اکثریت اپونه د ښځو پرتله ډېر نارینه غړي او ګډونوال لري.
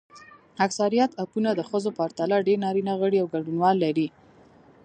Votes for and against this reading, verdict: 0, 2, rejected